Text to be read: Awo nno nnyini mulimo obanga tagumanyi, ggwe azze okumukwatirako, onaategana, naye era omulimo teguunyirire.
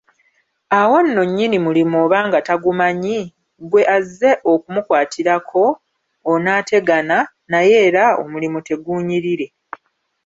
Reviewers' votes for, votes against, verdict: 1, 2, rejected